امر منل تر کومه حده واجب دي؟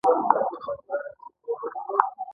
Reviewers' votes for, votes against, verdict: 2, 1, accepted